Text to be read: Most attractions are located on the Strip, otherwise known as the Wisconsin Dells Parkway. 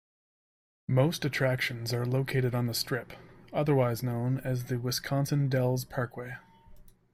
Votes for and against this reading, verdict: 2, 0, accepted